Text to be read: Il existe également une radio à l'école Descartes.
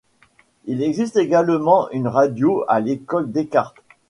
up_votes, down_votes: 2, 0